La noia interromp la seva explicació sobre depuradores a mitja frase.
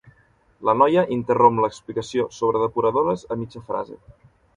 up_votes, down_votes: 1, 2